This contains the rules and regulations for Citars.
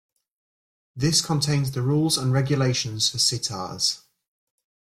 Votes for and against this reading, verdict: 2, 0, accepted